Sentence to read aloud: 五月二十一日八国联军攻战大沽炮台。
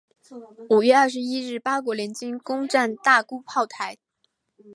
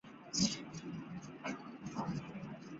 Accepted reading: first